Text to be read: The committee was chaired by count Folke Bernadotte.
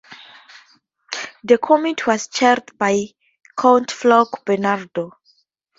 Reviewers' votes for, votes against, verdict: 2, 0, accepted